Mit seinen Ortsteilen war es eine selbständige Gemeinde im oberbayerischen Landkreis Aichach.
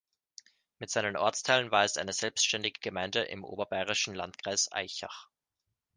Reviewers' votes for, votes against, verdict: 2, 0, accepted